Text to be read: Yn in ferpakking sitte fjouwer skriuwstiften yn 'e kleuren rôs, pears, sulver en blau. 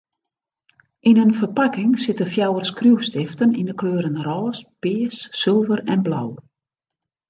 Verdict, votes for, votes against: accepted, 2, 0